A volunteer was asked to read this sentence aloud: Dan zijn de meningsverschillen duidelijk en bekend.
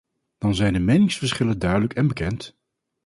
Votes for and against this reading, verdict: 4, 0, accepted